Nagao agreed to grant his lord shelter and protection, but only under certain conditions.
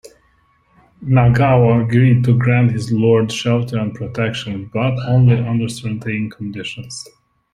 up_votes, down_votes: 2, 0